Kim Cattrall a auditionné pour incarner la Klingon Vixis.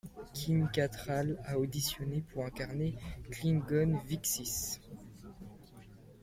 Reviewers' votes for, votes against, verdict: 1, 2, rejected